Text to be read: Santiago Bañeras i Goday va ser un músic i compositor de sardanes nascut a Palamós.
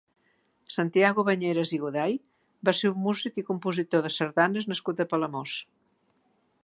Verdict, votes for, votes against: accepted, 2, 0